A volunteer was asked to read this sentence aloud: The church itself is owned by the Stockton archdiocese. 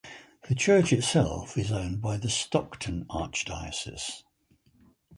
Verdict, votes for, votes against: accepted, 4, 0